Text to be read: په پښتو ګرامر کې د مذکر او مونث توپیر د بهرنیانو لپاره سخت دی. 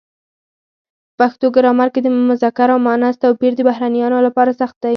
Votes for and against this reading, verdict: 0, 4, rejected